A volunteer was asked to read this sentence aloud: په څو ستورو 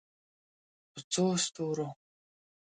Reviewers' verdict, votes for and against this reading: accepted, 2, 0